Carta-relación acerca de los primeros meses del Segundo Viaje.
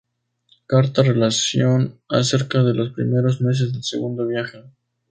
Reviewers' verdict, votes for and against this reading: accepted, 2, 0